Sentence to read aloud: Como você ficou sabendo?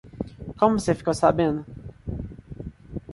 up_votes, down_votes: 2, 1